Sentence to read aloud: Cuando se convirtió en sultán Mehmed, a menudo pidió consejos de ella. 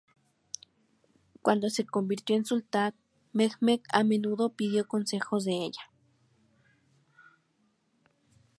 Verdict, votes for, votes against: accepted, 2, 0